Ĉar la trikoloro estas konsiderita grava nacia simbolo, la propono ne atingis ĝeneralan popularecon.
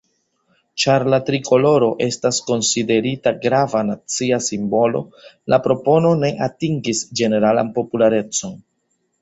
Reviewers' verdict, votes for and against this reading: accepted, 3, 1